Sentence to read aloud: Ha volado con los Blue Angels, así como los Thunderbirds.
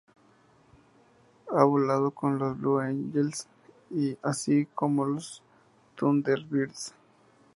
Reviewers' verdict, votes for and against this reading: accepted, 2, 0